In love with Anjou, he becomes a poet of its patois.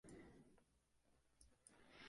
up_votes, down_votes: 0, 2